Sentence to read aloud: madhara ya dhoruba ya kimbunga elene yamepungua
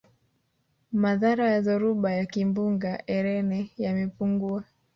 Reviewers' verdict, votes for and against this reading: accepted, 3, 1